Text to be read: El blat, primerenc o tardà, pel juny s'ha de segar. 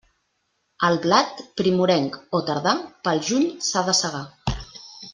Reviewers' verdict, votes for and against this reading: rejected, 1, 2